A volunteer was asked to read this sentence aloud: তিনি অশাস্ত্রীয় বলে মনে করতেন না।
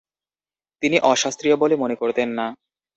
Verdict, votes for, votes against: rejected, 0, 2